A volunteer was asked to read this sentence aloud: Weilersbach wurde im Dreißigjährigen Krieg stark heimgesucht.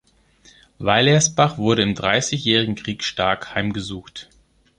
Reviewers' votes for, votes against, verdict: 3, 0, accepted